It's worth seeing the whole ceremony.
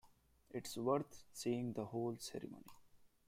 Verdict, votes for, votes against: accepted, 2, 0